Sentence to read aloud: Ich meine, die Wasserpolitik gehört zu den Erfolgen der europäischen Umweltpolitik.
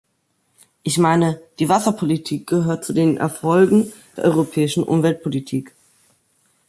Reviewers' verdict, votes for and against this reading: accepted, 2, 0